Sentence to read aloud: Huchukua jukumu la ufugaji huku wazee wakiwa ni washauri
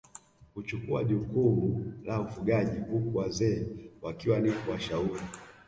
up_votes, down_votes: 1, 2